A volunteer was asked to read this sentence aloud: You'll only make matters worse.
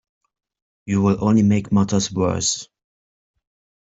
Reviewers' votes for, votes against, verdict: 2, 0, accepted